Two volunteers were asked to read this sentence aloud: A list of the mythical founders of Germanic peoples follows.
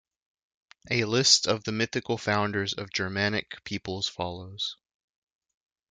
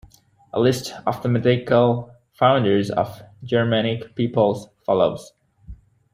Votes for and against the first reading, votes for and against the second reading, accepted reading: 2, 1, 1, 2, first